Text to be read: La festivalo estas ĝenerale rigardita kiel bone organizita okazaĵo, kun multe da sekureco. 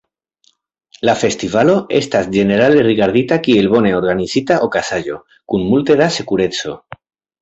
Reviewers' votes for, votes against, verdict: 2, 0, accepted